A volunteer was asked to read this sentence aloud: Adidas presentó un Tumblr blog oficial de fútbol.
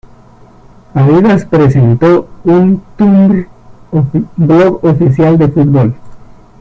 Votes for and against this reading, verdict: 0, 2, rejected